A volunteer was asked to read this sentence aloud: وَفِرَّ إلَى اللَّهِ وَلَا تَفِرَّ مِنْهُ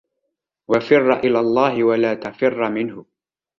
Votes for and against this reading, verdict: 2, 0, accepted